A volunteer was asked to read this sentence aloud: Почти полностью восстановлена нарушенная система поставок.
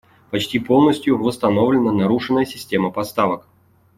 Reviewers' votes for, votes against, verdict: 2, 0, accepted